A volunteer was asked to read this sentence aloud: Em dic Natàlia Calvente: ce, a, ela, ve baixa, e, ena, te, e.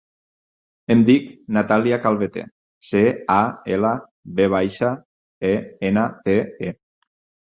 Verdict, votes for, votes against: rejected, 0, 4